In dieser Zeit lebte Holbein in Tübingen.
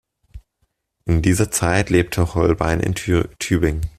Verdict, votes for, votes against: rejected, 0, 2